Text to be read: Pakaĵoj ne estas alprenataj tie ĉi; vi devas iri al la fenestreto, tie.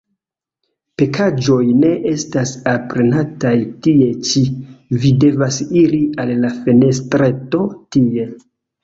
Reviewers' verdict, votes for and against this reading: accepted, 2, 1